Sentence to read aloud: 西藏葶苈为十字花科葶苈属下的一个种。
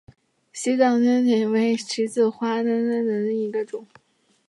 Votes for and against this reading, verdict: 0, 2, rejected